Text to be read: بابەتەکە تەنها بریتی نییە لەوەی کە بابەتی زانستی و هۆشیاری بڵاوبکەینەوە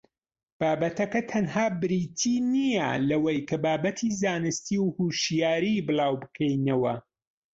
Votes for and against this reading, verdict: 1, 2, rejected